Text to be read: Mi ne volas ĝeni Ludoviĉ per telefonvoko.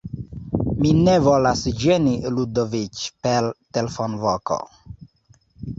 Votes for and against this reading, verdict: 2, 0, accepted